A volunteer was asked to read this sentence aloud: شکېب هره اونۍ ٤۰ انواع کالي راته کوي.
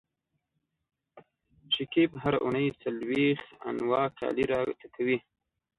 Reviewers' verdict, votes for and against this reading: rejected, 0, 2